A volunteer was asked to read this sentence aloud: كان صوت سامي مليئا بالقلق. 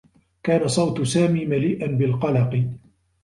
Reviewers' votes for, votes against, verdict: 2, 0, accepted